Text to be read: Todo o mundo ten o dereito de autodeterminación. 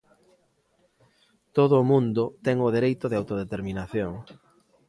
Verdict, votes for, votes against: accepted, 2, 0